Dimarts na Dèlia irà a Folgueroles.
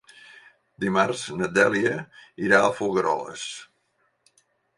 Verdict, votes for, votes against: accepted, 4, 0